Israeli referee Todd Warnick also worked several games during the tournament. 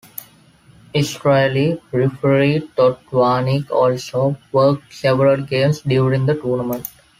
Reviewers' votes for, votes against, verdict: 2, 0, accepted